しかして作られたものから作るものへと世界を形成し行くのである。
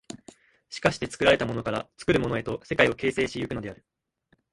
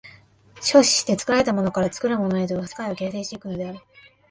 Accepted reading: first